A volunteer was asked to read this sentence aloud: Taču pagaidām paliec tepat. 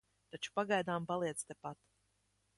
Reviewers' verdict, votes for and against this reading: rejected, 1, 2